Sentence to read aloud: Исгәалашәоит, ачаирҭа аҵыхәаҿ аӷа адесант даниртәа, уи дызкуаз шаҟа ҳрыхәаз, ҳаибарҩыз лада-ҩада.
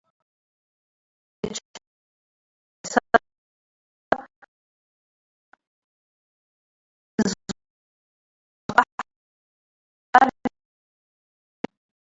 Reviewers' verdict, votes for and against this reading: rejected, 0, 2